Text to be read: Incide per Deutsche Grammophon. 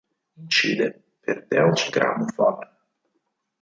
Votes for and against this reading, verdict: 2, 4, rejected